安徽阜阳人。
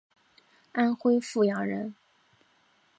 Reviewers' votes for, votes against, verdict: 4, 0, accepted